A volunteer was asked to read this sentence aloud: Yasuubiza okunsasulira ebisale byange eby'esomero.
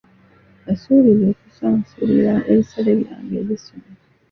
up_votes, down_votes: 0, 2